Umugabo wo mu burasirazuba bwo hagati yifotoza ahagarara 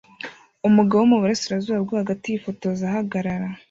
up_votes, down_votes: 1, 2